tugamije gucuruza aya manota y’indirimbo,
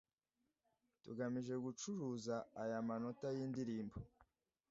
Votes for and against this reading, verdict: 2, 0, accepted